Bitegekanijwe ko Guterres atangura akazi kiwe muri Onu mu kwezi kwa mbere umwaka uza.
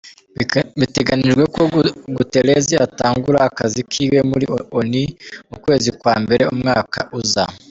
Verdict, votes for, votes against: rejected, 0, 2